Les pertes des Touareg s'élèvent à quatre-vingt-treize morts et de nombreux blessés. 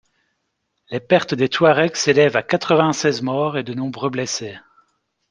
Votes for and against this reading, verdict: 0, 2, rejected